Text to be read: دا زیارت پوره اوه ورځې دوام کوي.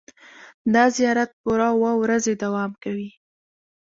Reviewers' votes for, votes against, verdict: 0, 2, rejected